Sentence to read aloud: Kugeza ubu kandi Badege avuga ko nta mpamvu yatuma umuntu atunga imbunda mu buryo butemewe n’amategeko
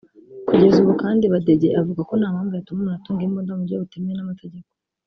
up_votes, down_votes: 1, 2